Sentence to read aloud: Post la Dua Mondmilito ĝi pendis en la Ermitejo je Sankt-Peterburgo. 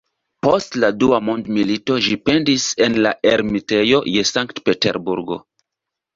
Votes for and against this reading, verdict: 2, 0, accepted